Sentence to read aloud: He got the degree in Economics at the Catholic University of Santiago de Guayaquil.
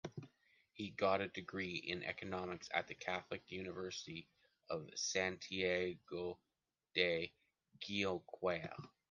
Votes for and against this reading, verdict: 0, 2, rejected